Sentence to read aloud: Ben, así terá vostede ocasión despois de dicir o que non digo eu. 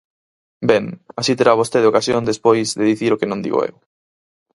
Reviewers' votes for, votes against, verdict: 4, 0, accepted